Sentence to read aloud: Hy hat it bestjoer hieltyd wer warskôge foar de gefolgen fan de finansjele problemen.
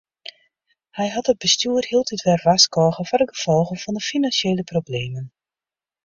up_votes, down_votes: 2, 0